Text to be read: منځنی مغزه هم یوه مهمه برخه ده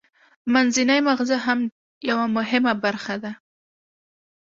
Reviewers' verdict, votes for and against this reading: accepted, 2, 0